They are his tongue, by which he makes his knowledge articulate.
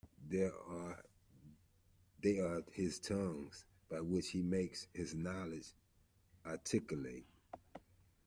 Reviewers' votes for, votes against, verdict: 1, 2, rejected